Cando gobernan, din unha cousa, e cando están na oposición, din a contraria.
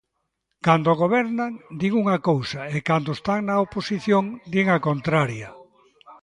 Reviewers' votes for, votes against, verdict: 2, 0, accepted